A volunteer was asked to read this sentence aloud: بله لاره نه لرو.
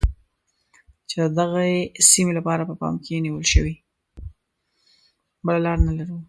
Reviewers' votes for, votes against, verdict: 1, 2, rejected